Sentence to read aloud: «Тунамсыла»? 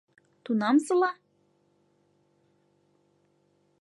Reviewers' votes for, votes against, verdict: 2, 0, accepted